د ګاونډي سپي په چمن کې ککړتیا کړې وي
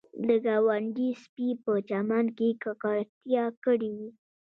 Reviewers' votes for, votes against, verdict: 1, 2, rejected